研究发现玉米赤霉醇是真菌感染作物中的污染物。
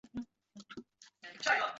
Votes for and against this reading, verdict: 1, 3, rejected